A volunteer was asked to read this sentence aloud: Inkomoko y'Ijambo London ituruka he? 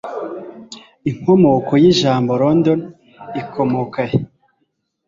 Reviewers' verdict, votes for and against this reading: rejected, 1, 2